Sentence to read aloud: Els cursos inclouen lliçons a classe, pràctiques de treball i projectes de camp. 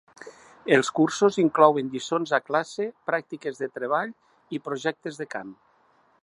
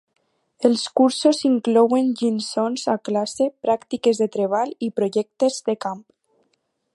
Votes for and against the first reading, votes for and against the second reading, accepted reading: 3, 0, 2, 4, first